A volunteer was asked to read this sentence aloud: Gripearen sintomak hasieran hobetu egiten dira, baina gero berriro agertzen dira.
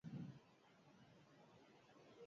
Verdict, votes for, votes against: rejected, 0, 8